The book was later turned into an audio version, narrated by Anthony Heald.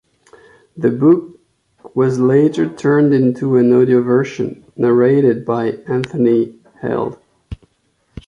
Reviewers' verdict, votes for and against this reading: accepted, 2, 1